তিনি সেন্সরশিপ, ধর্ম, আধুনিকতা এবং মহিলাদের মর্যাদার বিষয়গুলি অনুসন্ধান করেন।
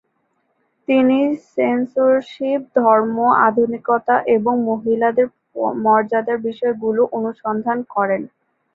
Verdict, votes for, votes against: rejected, 1, 2